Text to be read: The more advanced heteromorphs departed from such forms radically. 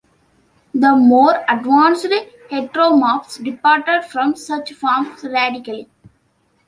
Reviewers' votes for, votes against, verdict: 2, 0, accepted